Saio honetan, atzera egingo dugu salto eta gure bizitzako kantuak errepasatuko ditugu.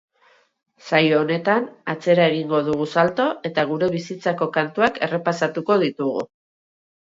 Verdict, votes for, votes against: accepted, 2, 0